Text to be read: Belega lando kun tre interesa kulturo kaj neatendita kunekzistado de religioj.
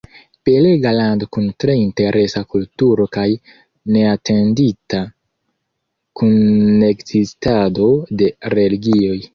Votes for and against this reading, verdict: 2, 0, accepted